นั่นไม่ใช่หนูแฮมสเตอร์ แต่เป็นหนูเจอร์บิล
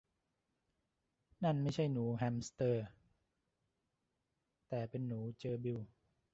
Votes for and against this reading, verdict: 1, 2, rejected